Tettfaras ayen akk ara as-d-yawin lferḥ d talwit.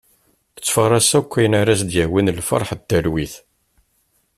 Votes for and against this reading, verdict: 2, 1, accepted